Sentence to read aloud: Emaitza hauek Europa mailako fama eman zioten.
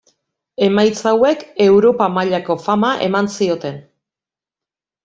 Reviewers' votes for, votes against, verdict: 1, 2, rejected